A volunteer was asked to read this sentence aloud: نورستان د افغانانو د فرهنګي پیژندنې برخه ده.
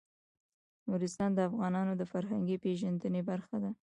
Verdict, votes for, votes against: rejected, 0, 2